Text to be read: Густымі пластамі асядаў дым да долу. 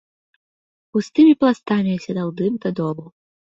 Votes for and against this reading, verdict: 2, 0, accepted